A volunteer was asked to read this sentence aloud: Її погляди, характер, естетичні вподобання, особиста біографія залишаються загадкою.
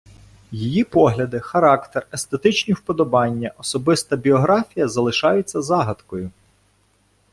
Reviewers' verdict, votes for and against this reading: accepted, 2, 1